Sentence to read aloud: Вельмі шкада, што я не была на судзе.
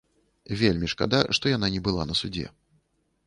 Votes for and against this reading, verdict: 1, 2, rejected